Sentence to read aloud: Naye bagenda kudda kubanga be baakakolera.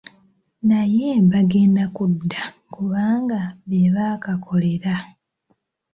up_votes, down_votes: 2, 0